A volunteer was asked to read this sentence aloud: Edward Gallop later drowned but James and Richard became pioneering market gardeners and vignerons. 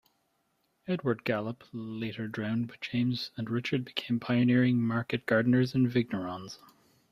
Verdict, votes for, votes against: accepted, 2, 0